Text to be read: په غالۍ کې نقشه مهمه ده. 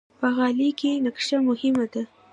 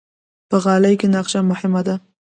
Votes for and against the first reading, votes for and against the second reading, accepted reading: 2, 0, 0, 2, first